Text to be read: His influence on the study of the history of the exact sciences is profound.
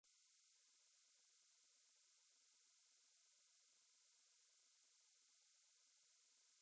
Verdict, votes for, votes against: rejected, 0, 2